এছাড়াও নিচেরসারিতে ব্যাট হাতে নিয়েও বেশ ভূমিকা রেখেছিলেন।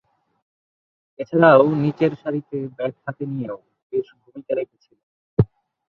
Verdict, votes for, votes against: rejected, 1, 2